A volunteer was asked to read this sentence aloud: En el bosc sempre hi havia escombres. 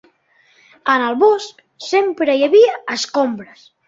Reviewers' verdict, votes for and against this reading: rejected, 0, 2